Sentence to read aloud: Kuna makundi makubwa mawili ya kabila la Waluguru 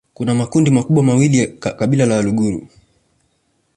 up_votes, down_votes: 2, 1